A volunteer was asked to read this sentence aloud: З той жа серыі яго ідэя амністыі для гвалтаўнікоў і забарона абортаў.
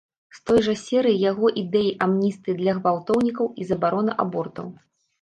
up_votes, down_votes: 1, 2